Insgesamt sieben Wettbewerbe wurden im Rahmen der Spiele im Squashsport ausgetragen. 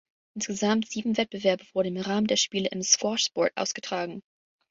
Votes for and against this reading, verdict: 2, 3, rejected